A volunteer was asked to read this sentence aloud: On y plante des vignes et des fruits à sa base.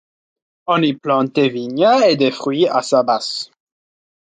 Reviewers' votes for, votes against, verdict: 1, 2, rejected